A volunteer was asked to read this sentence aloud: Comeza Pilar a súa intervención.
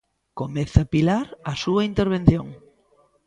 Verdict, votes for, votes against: accepted, 2, 0